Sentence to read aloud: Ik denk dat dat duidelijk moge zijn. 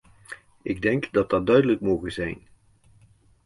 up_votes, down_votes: 2, 0